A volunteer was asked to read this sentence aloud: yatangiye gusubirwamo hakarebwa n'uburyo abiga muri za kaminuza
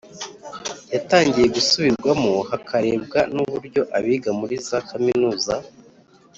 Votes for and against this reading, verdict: 2, 0, accepted